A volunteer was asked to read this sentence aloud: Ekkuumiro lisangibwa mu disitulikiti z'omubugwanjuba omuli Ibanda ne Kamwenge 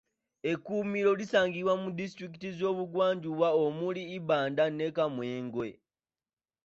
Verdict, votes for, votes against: rejected, 1, 2